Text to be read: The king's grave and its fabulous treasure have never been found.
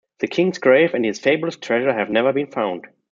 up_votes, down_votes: 0, 2